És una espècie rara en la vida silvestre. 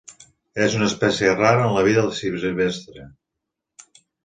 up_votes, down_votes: 1, 2